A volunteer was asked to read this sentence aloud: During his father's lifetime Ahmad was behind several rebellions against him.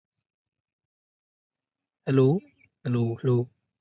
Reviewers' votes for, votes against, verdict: 0, 2, rejected